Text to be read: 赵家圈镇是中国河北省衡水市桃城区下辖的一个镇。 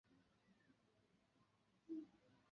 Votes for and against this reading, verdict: 0, 2, rejected